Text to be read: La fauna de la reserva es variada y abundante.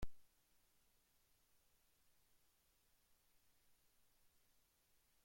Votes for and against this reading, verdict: 0, 2, rejected